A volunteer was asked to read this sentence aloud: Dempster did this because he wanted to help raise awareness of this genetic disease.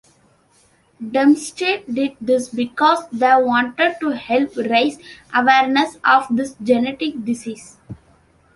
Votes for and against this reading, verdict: 1, 2, rejected